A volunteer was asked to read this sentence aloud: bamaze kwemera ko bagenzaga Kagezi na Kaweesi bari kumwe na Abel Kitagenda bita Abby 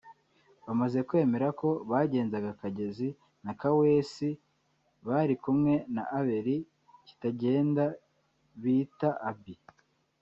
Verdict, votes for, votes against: rejected, 1, 2